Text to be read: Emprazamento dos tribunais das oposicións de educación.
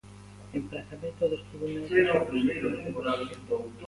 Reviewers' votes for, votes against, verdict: 0, 2, rejected